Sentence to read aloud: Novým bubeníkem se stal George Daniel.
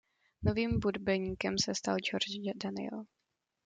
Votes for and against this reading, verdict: 0, 2, rejected